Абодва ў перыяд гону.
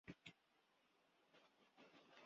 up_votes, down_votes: 0, 2